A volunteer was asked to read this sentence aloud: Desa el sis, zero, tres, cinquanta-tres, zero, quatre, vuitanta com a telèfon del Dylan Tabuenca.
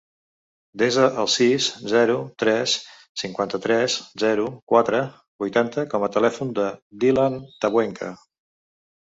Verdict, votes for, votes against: rejected, 0, 2